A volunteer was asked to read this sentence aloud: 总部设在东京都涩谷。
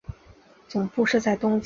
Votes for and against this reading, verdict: 0, 4, rejected